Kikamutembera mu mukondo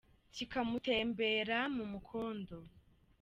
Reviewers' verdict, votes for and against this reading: accepted, 2, 0